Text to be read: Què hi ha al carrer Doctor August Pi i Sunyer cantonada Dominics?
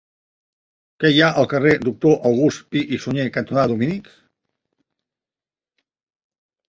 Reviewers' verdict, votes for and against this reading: accepted, 2, 1